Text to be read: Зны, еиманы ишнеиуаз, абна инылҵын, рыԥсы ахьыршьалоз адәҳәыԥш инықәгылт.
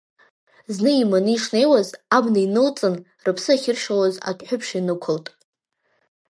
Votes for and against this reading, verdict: 1, 2, rejected